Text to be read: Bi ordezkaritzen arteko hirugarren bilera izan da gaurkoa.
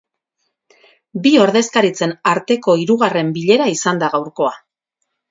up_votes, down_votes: 4, 0